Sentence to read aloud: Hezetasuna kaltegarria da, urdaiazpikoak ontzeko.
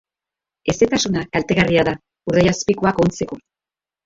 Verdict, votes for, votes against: rejected, 0, 2